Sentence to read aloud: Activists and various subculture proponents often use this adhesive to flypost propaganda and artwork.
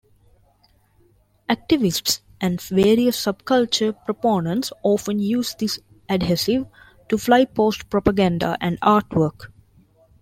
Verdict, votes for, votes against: rejected, 0, 2